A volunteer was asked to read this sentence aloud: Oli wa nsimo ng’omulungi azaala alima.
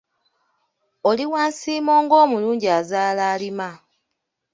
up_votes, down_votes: 1, 3